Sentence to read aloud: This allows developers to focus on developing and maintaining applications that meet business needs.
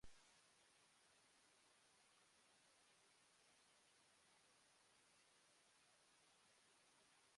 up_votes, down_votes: 0, 2